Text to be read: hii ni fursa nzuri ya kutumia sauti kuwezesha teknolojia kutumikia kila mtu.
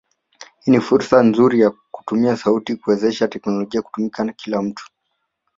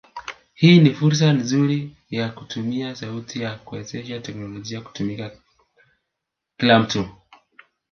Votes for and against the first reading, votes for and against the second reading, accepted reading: 2, 0, 0, 2, first